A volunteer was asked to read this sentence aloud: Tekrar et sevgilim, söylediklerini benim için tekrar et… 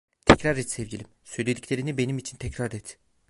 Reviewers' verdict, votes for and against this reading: rejected, 1, 2